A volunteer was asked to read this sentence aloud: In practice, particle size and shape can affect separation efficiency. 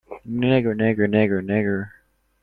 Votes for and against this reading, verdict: 0, 2, rejected